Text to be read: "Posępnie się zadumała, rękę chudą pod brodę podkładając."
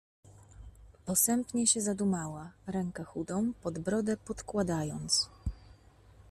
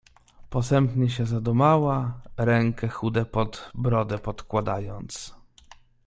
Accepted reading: first